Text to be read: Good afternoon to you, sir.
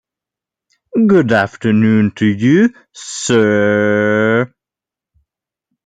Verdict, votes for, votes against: rejected, 1, 2